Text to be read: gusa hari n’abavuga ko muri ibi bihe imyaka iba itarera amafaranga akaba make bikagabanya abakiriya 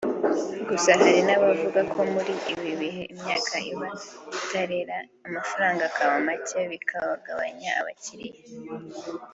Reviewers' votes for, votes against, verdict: 3, 0, accepted